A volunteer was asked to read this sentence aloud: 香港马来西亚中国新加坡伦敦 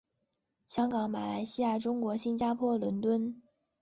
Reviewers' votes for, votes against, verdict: 2, 1, accepted